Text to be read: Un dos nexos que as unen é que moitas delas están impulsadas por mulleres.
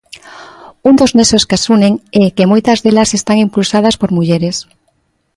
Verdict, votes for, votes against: accepted, 2, 0